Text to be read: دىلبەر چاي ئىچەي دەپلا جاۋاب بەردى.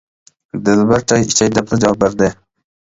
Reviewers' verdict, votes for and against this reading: rejected, 1, 2